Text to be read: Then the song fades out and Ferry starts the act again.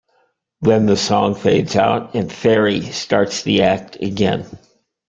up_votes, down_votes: 2, 0